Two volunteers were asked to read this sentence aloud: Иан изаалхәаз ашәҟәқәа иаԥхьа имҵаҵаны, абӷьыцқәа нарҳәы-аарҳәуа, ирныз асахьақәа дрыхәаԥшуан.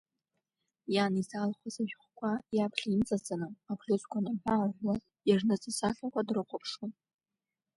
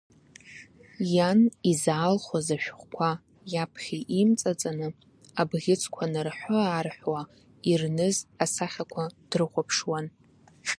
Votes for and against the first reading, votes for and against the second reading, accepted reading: 0, 2, 2, 1, second